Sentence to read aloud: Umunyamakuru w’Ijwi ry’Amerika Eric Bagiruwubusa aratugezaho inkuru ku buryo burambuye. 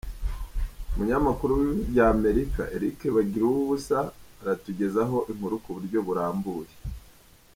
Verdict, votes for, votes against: rejected, 1, 2